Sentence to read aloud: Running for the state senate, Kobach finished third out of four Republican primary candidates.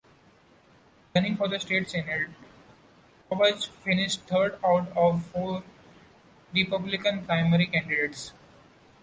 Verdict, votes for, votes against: rejected, 0, 2